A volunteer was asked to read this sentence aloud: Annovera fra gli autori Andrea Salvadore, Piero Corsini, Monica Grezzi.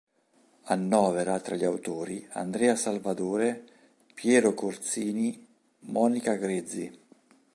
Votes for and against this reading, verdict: 1, 3, rejected